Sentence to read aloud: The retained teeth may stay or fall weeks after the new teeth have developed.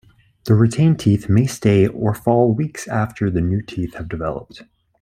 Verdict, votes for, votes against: rejected, 1, 2